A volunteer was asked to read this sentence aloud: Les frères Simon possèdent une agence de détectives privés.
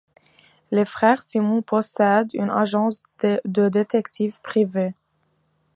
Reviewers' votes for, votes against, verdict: 2, 0, accepted